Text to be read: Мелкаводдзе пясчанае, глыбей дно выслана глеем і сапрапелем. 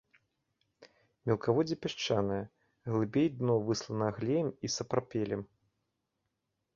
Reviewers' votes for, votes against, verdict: 2, 0, accepted